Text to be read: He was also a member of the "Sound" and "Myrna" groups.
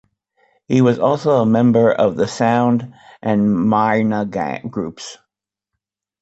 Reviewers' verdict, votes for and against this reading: rejected, 0, 2